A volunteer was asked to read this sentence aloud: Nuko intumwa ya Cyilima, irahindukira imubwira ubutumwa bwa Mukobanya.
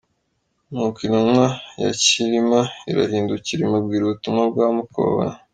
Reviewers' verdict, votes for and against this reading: rejected, 1, 2